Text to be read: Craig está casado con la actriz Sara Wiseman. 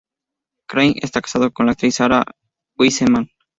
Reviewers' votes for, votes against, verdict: 2, 2, rejected